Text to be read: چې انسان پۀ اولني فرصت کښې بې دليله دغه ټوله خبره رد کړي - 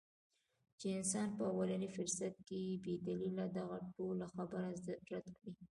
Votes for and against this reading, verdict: 1, 2, rejected